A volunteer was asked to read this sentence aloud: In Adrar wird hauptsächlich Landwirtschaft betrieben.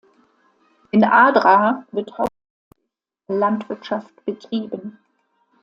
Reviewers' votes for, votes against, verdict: 0, 2, rejected